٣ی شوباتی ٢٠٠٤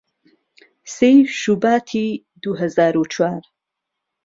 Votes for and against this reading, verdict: 0, 2, rejected